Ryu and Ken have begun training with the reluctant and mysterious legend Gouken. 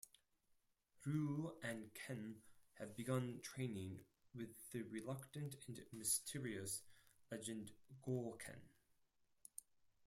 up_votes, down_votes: 0, 4